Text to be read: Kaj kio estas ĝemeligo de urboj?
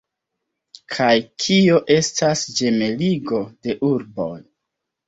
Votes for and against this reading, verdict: 2, 0, accepted